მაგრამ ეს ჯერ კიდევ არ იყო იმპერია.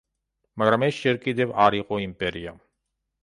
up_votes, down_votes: 2, 0